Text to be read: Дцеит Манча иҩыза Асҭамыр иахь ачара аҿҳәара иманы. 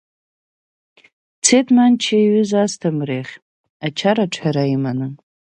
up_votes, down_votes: 3, 0